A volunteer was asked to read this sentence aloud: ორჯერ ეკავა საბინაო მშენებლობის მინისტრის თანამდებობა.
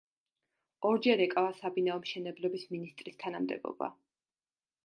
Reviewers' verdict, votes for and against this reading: accepted, 2, 0